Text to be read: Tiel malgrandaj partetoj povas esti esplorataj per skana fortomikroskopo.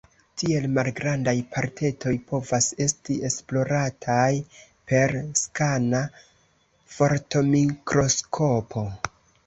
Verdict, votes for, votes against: accepted, 3, 0